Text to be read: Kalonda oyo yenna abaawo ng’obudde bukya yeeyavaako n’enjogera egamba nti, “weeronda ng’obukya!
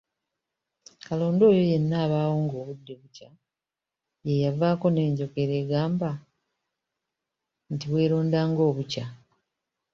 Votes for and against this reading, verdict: 1, 2, rejected